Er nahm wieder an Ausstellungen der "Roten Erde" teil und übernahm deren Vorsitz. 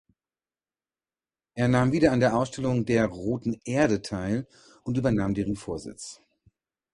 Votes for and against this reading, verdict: 0, 2, rejected